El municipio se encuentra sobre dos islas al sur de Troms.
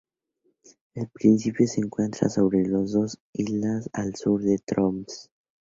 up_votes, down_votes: 0, 2